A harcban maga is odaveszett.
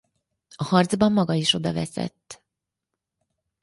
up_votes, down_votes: 4, 0